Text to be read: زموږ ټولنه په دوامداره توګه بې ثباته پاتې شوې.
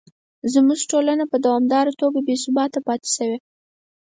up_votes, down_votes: 4, 0